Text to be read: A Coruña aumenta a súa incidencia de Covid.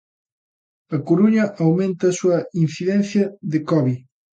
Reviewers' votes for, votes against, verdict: 2, 0, accepted